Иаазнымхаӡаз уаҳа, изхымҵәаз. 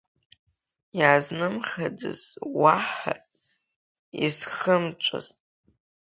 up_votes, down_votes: 0, 4